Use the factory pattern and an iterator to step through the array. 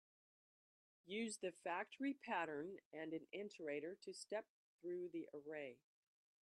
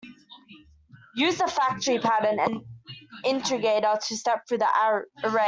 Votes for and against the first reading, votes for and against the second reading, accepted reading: 2, 0, 0, 2, first